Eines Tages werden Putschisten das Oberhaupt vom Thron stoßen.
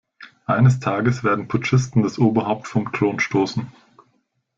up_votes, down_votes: 0, 2